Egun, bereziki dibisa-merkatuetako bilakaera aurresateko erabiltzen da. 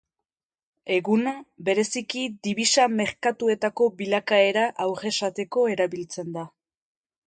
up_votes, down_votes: 2, 3